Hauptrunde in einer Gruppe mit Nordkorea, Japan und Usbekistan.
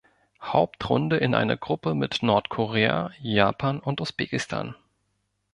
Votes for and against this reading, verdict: 2, 0, accepted